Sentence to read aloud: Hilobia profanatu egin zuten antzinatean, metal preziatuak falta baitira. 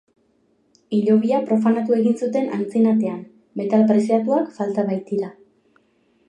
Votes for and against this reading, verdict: 6, 1, accepted